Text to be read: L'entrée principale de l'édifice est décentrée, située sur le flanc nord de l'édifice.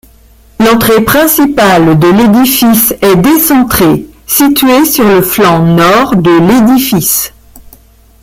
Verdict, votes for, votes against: accepted, 2, 0